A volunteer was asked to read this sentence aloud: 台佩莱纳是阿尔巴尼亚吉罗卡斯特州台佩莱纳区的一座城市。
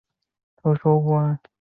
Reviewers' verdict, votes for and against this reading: accepted, 4, 2